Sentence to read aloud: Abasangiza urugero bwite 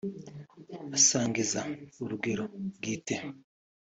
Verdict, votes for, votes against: accepted, 2, 0